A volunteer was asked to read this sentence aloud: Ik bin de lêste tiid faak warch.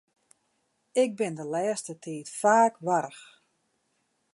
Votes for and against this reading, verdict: 2, 0, accepted